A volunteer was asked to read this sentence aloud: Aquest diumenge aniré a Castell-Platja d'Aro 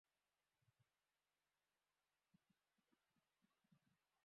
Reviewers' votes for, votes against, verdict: 0, 3, rejected